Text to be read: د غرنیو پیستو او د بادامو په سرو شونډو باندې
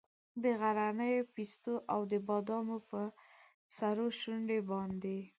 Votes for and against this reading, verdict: 5, 1, accepted